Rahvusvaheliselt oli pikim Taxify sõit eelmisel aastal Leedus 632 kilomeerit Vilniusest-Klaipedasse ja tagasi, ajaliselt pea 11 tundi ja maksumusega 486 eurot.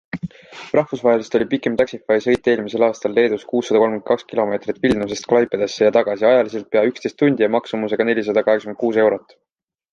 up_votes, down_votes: 0, 2